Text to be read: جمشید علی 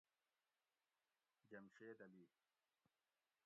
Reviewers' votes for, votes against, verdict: 1, 2, rejected